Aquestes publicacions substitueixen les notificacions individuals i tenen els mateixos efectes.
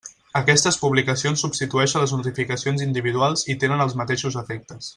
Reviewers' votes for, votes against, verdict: 2, 0, accepted